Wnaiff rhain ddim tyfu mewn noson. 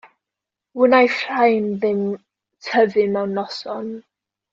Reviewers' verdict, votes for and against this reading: accepted, 2, 0